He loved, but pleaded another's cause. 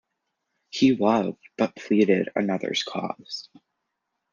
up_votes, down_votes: 2, 1